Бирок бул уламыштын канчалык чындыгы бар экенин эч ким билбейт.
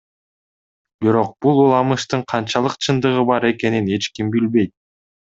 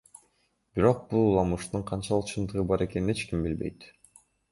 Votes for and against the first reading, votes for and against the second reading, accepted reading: 2, 0, 0, 2, first